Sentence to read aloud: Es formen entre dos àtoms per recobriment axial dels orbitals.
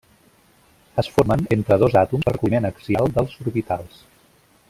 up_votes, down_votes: 0, 2